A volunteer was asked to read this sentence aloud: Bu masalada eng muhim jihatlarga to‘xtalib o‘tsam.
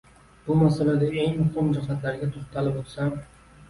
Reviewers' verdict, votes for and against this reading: accepted, 2, 0